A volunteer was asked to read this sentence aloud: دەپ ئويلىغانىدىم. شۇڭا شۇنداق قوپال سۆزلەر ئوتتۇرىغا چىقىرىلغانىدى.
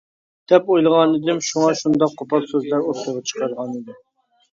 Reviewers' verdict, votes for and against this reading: rejected, 0, 2